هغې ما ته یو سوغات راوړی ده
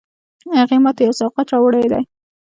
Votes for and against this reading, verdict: 1, 2, rejected